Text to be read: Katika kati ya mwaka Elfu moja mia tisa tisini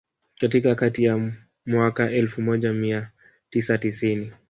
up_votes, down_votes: 3, 1